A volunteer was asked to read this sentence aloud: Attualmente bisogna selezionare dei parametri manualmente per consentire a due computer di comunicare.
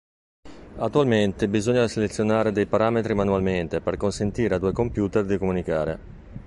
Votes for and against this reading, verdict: 2, 0, accepted